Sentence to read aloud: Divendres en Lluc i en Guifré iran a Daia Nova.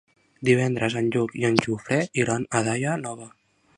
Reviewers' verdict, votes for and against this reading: rejected, 1, 2